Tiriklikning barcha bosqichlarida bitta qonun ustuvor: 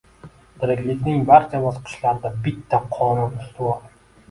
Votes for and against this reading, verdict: 2, 1, accepted